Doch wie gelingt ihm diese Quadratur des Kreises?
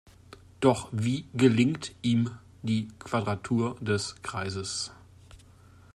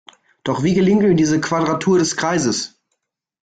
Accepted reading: second